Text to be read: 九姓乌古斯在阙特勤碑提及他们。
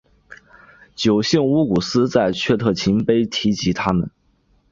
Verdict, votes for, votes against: accepted, 2, 0